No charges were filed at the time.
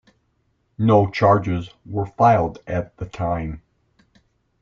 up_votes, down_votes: 2, 1